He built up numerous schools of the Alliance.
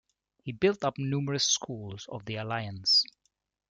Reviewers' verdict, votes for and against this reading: rejected, 1, 2